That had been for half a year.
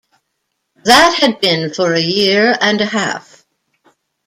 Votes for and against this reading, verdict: 0, 2, rejected